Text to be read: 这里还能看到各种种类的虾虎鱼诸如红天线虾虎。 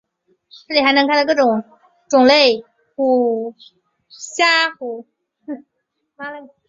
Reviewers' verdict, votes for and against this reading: rejected, 0, 2